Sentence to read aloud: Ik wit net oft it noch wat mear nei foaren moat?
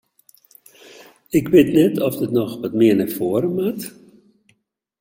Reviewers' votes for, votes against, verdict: 2, 0, accepted